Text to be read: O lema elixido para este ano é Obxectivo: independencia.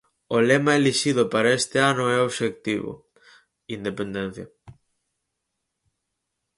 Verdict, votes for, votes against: accepted, 4, 0